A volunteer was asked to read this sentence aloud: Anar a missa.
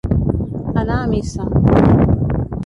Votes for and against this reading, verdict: 0, 2, rejected